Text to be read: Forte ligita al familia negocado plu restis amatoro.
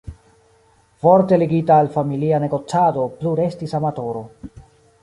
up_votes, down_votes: 2, 0